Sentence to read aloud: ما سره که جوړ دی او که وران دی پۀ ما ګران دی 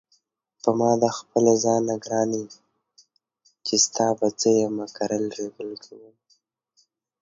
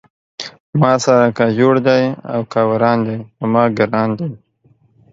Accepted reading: second